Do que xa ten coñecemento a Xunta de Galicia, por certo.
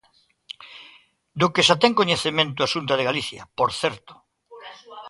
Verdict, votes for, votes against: rejected, 0, 2